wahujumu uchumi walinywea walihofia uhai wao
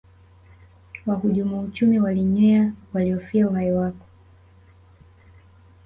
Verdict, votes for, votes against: rejected, 0, 2